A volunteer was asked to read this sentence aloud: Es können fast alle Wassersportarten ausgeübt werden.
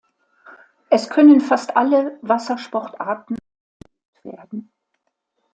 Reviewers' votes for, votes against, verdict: 0, 2, rejected